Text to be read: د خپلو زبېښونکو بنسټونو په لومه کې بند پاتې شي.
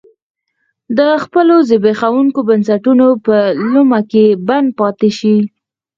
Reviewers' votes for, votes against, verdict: 4, 6, rejected